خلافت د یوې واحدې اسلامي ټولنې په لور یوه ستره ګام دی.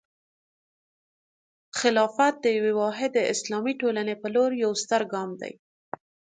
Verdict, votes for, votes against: accepted, 2, 0